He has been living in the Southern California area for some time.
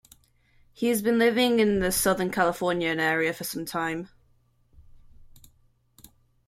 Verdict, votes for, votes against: rejected, 0, 2